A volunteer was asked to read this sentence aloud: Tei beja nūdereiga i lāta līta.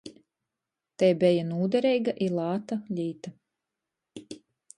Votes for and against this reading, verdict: 8, 0, accepted